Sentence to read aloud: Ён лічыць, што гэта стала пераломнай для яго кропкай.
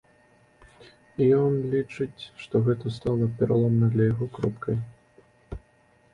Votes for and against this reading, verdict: 2, 0, accepted